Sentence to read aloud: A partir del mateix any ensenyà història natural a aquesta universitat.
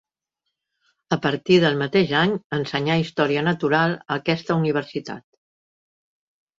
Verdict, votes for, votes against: accepted, 3, 0